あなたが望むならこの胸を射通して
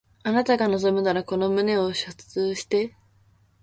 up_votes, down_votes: 0, 2